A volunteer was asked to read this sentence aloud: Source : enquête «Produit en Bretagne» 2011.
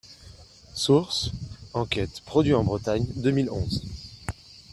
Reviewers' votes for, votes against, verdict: 0, 2, rejected